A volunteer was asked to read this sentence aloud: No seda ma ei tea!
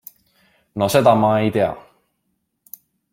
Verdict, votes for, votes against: accepted, 2, 0